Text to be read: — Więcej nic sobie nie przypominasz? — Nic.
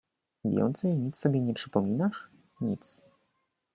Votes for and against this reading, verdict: 2, 0, accepted